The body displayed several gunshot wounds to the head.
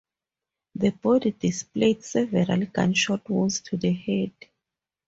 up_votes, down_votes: 4, 0